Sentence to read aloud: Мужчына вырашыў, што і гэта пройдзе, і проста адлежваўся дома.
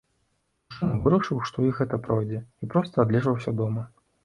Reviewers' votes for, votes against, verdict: 1, 2, rejected